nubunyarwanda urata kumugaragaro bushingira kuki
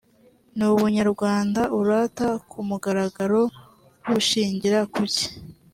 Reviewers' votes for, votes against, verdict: 2, 1, accepted